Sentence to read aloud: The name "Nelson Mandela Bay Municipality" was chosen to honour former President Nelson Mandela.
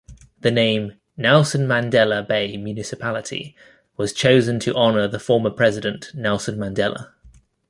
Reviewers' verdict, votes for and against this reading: rejected, 1, 3